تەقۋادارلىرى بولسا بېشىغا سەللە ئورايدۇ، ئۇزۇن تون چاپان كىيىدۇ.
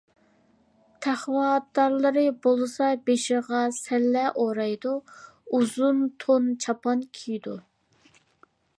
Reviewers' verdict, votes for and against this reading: accepted, 3, 0